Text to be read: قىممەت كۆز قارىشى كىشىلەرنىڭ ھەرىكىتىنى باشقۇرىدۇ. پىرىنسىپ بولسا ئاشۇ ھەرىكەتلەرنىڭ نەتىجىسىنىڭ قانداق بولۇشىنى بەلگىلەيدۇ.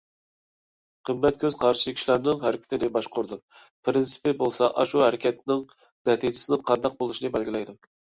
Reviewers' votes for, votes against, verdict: 0, 2, rejected